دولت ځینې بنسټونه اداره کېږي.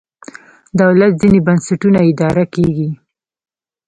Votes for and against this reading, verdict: 1, 2, rejected